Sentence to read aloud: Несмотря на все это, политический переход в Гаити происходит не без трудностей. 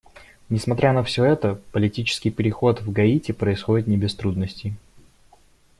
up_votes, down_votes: 2, 0